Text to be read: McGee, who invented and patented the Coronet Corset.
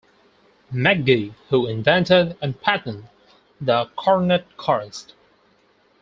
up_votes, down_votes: 0, 4